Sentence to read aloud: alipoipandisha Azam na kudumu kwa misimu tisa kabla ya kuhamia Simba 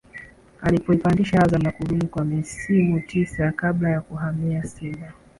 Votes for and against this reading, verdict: 2, 0, accepted